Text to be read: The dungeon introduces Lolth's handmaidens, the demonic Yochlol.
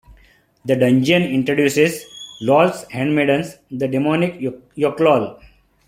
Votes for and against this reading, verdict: 2, 1, accepted